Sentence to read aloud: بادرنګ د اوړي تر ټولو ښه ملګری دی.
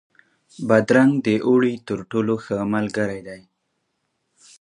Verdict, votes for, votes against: accepted, 2, 0